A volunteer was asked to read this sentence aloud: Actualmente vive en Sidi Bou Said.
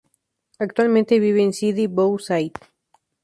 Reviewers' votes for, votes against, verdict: 0, 2, rejected